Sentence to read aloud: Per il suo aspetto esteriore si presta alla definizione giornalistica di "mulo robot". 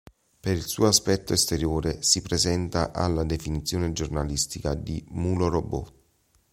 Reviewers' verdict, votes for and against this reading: rejected, 1, 2